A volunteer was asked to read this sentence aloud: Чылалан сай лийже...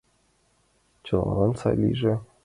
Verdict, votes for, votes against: accepted, 2, 0